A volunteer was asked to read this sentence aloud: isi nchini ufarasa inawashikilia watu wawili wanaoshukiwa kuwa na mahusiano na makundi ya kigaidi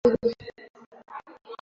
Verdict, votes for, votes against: rejected, 0, 2